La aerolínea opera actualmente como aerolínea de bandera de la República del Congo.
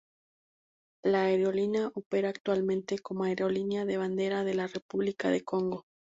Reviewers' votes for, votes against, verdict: 4, 0, accepted